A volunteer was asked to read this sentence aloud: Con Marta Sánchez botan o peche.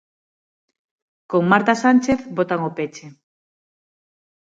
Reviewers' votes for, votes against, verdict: 6, 0, accepted